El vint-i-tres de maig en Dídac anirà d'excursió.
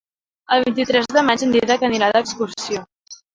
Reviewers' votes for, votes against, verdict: 1, 2, rejected